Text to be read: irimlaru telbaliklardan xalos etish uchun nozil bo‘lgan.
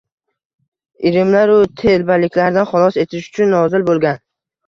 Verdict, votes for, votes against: rejected, 1, 2